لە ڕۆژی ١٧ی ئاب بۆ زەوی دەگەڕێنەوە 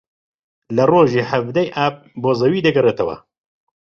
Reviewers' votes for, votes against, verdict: 0, 2, rejected